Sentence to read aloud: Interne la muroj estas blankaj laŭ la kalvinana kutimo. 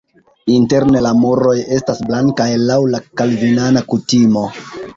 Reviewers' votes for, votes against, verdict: 3, 2, accepted